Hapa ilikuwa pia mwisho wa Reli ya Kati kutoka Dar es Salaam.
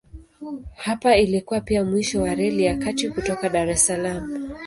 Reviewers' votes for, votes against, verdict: 2, 0, accepted